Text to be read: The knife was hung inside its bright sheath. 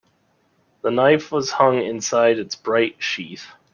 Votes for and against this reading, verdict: 2, 0, accepted